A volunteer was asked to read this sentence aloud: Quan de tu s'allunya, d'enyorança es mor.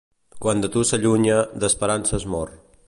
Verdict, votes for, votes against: rejected, 1, 2